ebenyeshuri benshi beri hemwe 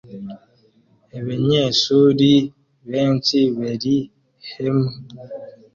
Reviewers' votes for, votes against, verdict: 2, 0, accepted